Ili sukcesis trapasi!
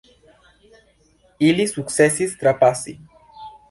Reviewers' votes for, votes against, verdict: 2, 0, accepted